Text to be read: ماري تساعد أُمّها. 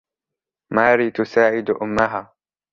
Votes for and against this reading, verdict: 2, 0, accepted